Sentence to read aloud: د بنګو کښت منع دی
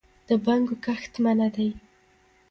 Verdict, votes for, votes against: accepted, 2, 0